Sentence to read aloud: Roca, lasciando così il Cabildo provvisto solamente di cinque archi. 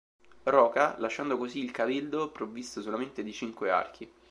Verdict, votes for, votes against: rejected, 1, 2